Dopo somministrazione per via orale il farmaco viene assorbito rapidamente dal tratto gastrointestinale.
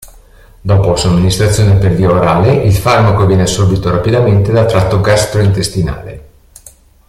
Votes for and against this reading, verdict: 2, 0, accepted